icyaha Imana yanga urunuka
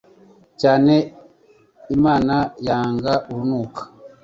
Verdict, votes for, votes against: rejected, 1, 2